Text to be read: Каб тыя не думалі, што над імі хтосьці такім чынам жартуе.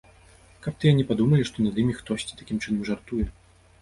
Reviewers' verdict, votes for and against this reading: rejected, 1, 2